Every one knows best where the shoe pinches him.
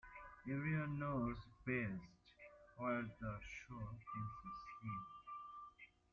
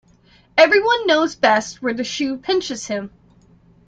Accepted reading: second